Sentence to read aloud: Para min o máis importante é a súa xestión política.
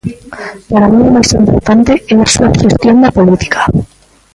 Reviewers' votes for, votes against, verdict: 0, 2, rejected